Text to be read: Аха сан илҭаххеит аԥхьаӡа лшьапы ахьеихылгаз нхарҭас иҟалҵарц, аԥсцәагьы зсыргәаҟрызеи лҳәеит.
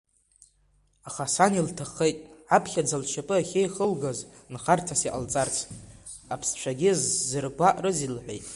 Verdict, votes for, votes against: accepted, 2, 0